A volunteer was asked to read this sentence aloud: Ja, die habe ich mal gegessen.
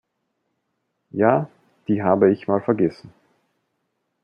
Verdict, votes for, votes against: rejected, 0, 2